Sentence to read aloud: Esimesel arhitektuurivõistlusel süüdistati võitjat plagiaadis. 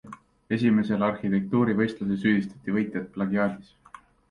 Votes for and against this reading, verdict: 2, 0, accepted